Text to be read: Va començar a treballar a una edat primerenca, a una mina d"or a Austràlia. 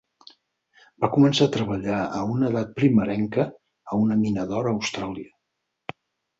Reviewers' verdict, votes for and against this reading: accepted, 4, 0